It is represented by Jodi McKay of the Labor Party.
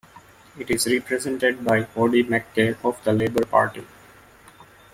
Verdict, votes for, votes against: rejected, 1, 3